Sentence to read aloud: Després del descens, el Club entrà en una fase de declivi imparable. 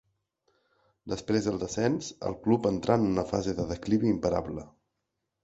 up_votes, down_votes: 2, 0